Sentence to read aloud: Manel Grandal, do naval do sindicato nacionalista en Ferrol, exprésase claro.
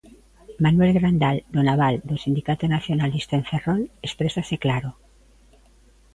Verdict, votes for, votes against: rejected, 1, 2